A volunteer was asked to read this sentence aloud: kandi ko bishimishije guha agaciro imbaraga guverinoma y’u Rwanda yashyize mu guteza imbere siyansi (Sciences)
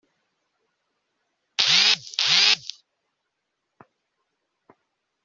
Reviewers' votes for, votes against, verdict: 0, 2, rejected